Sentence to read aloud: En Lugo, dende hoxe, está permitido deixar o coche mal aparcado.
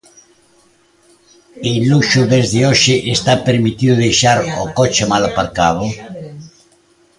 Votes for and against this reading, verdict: 0, 2, rejected